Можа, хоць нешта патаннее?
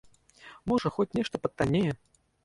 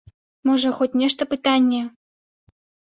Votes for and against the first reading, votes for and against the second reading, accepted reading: 2, 1, 1, 2, first